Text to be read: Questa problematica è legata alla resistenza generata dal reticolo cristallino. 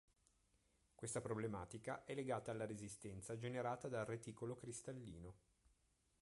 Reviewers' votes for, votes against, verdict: 0, 2, rejected